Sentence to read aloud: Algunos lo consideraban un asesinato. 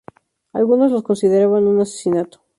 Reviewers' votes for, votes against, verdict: 0, 2, rejected